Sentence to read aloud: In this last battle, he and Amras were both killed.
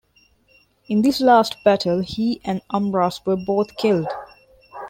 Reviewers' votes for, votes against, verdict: 2, 0, accepted